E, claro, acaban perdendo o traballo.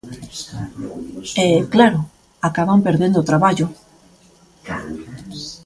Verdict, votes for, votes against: rejected, 1, 2